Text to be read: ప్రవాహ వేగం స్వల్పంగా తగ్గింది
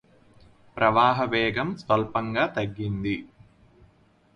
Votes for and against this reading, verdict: 4, 0, accepted